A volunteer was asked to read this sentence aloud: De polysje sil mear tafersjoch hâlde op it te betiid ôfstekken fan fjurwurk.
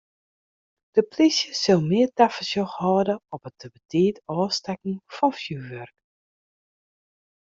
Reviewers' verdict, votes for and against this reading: accepted, 2, 0